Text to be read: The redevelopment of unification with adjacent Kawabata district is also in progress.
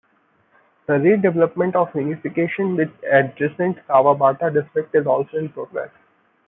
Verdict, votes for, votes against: rejected, 0, 2